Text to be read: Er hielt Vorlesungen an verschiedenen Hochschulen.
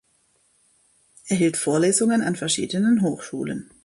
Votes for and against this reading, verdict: 2, 0, accepted